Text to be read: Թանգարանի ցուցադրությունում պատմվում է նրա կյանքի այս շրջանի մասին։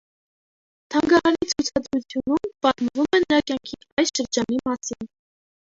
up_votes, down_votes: 0, 2